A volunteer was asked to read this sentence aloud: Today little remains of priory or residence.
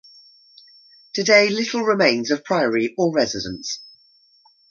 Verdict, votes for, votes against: accepted, 2, 0